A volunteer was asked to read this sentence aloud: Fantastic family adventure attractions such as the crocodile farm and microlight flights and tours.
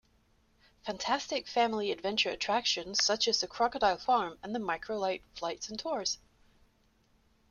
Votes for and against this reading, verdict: 0, 2, rejected